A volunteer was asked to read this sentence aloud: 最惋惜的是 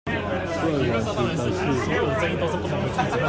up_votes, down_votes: 0, 2